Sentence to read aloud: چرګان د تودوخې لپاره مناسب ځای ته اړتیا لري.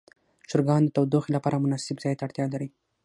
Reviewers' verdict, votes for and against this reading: accepted, 6, 0